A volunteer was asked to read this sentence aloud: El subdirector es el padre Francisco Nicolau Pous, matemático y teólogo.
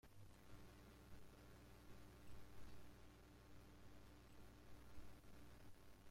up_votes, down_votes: 0, 2